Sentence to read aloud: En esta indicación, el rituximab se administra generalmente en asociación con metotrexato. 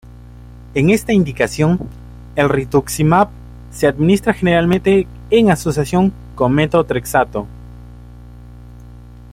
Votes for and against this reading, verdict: 2, 0, accepted